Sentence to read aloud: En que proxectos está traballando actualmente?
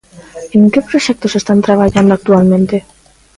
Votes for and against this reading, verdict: 0, 2, rejected